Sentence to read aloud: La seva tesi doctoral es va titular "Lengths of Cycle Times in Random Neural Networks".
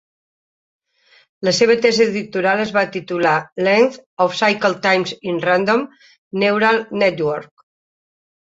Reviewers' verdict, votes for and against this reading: rejected, 0, 3